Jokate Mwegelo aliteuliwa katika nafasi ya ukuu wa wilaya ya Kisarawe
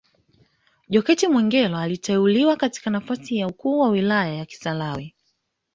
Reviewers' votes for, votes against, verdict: 2, 0, accepted